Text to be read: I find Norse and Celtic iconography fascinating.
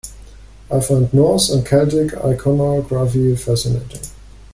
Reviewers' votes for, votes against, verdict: 2, 0, accepted